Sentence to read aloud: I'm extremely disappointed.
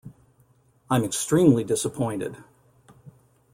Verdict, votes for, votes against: accepted, 2, 0